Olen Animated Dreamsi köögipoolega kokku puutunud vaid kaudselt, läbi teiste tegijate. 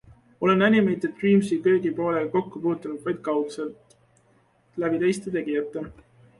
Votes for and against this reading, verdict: 2, 0, accepted